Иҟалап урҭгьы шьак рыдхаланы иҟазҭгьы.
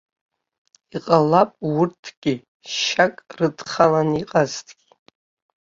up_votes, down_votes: 0, 3